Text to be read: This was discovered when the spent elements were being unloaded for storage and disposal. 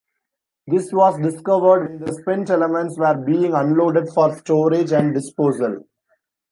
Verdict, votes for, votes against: rejected, 0, 2